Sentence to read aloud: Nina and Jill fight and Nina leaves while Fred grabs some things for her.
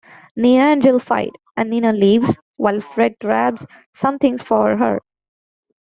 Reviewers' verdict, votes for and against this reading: rejected, 1, 2